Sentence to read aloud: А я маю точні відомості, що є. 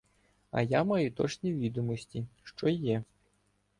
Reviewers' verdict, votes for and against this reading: accepted, 2, 0